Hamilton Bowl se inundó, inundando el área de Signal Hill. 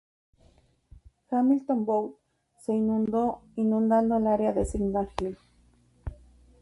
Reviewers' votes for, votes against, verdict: 4, 0, accepted